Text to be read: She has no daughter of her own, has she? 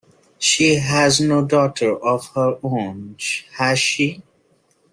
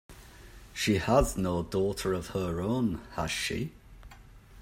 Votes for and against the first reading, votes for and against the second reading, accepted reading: 0, 2, 2, 0, second